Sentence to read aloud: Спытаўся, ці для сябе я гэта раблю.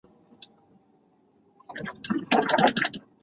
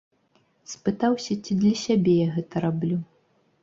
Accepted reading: second